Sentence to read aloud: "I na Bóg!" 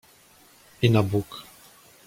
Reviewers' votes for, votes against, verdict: 2, 0, accepted